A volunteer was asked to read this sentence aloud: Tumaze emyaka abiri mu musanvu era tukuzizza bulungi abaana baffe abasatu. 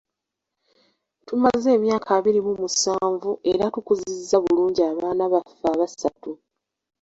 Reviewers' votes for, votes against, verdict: 2, 0, accepted